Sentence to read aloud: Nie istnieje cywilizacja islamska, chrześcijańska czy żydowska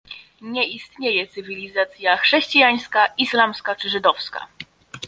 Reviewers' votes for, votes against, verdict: 0, 2, rejected